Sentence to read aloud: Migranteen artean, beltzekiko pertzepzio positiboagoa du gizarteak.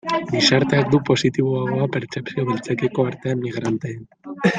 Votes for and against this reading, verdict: 0, 2, rejected